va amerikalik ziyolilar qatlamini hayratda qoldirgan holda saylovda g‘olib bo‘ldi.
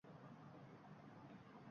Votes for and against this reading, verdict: 1, 2, rejected